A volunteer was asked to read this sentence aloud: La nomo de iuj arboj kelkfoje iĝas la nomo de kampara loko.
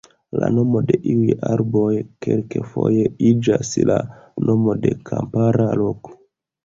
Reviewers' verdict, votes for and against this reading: rejected, 1, 2